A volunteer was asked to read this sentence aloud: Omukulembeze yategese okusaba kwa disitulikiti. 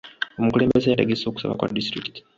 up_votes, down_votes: 2, 0